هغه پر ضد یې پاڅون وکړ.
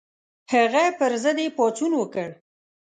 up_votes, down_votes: 2, 0